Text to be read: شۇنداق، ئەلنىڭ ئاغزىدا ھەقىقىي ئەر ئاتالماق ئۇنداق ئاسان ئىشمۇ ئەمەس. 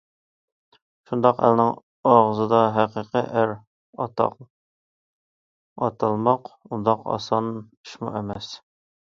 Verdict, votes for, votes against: rejected, 0, 2